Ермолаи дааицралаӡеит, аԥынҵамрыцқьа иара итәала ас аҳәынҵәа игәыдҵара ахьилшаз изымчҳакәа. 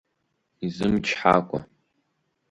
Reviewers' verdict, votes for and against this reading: rejected, 0, 3